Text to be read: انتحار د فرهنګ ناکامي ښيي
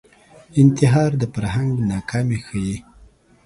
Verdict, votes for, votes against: accepted, 2, 0